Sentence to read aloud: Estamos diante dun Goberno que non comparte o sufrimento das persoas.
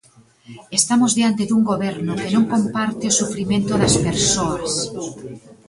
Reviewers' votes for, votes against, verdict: 2, 0, accepted